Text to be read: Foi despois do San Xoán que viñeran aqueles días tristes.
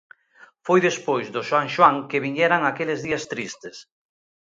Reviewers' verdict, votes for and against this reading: accepted, 2, 0